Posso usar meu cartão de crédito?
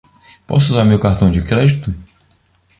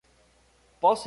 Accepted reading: first